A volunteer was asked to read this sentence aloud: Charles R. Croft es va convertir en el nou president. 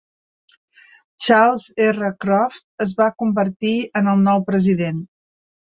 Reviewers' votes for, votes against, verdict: 3, 0, accepted